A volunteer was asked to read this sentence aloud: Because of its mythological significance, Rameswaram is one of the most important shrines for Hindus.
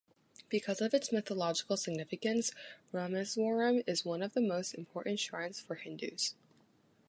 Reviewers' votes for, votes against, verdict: 2, 0, accepted